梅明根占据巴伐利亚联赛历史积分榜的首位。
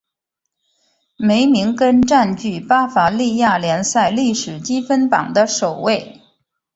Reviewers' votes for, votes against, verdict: 3, 0, accepted